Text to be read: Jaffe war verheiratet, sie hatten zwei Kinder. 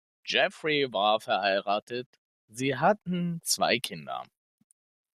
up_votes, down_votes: 1, 2